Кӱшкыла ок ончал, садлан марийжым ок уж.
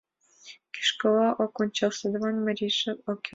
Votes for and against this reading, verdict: 1, 2, rejected